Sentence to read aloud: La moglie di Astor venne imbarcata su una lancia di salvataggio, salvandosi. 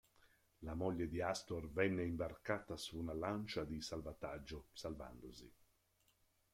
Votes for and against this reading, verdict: 1, 2, rejected